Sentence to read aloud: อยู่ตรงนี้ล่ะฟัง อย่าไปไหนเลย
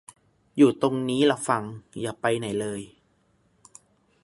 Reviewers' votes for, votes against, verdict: 2, 0, accepted